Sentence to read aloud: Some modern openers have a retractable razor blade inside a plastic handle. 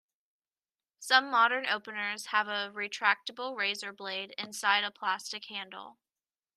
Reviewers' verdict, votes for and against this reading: accepted, 2, 0